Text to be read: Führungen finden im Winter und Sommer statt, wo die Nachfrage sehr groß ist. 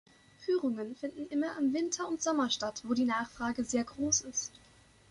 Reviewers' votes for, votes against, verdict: 1, 3, rejected